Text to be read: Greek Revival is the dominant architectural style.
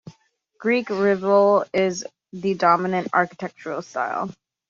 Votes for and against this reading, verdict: 0, 3, rejected